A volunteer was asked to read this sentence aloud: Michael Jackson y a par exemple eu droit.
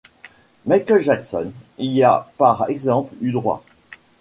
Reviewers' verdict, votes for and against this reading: accepted, 2, 0